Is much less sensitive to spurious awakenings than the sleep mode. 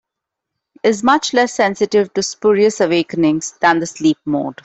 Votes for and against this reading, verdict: 2, 1, accepted